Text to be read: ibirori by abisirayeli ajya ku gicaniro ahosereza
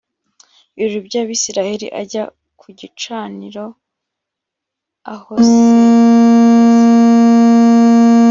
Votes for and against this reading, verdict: 1, 2, rejected